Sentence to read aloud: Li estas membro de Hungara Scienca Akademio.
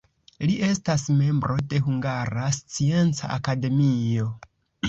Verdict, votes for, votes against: accepted, 2, 0